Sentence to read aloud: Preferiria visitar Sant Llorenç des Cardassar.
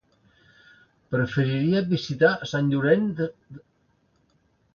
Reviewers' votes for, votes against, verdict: 0, 3, rejected